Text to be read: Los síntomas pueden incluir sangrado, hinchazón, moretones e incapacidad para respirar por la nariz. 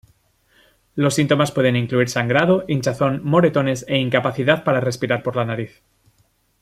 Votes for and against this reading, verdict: 2, 0, accepted